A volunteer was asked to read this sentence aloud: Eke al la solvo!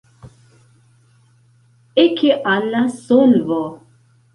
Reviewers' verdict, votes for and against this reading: accepted, 2, 0